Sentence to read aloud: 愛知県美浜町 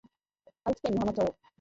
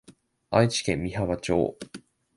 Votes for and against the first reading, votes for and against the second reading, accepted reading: 0, 2, 3, 0, second